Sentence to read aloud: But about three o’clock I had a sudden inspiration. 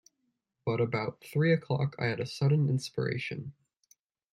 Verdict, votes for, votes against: accepted, 2, 0